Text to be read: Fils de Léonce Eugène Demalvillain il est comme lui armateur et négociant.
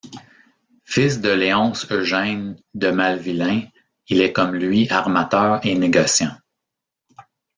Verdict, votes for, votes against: rejected, 1, 2